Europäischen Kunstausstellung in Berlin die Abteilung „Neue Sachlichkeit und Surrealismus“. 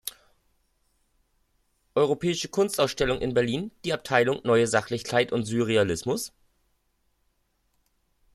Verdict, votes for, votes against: rejected, 1, 2